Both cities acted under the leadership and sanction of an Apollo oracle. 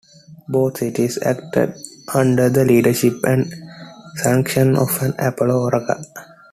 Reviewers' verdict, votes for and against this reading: accepted, 3, 2